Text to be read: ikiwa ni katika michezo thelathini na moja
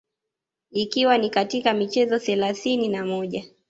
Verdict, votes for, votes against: rejected, 0, 2